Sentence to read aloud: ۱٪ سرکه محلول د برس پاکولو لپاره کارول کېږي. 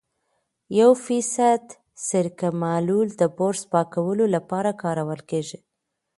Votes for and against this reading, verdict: 0, 2, rejected